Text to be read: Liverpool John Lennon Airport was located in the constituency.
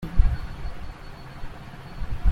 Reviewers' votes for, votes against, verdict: 0, 2, rejected